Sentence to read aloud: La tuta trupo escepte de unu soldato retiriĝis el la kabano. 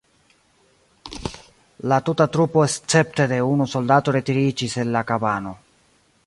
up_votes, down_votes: 1, 2